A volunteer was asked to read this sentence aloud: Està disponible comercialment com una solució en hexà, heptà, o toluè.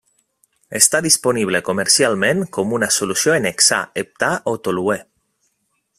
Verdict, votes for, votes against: accepted, 2, 0